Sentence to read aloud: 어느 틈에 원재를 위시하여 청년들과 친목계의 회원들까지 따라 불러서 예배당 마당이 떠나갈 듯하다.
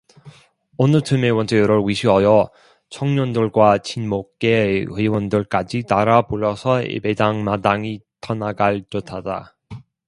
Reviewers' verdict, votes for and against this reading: rejected, 1, 2